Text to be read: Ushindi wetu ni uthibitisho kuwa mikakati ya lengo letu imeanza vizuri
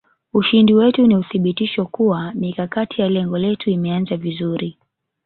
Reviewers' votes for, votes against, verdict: 2, 0, accepted